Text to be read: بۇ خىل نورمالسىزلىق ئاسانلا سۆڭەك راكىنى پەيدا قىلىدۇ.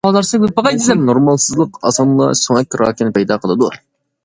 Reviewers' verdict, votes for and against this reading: rejected, 0, 2